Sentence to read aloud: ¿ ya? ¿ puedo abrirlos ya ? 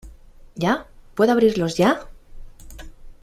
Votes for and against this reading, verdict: 2, 0, accepted